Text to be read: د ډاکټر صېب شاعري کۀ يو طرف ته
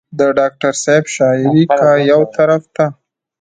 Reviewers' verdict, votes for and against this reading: accepted, 2, 0